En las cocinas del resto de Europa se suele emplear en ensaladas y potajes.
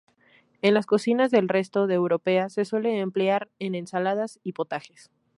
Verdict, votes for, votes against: accepted, 2, 0